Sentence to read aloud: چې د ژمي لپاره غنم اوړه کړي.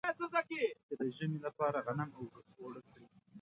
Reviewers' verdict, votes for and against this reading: rejected, 0, 2